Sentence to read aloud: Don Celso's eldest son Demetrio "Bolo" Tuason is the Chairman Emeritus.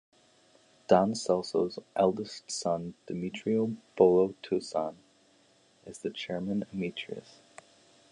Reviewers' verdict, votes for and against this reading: accepted, 2, 0